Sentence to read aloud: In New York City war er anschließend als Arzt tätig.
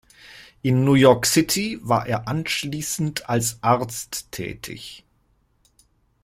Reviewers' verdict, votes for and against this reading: accepted, 2, 0